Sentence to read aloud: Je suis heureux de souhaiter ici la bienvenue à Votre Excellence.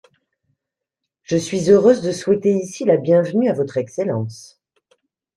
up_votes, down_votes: 0, 2